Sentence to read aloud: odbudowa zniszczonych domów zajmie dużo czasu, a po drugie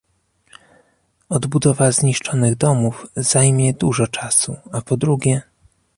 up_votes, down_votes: 1, 2